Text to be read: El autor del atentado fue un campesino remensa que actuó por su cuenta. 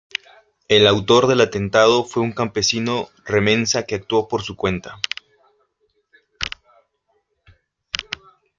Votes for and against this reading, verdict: 1, 2, rejected